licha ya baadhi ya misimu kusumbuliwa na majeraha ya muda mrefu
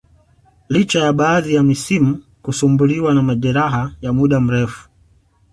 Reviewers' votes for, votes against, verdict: 2, 0, accepted